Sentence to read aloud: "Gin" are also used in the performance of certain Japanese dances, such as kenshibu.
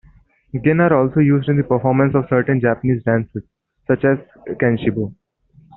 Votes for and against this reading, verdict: 1, 2, rejected